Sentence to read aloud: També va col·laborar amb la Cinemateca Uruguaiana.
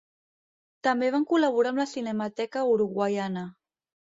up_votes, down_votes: 2, 8